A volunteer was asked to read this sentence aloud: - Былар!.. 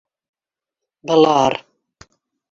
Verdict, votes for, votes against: accepted, 2, 1